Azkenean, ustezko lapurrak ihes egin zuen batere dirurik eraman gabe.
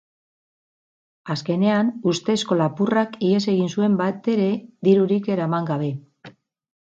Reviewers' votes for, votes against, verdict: 6, 0, accepted